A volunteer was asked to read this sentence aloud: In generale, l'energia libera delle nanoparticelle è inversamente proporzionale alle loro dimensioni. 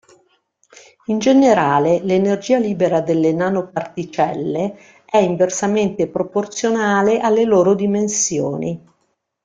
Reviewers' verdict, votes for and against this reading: accepted, 3, 1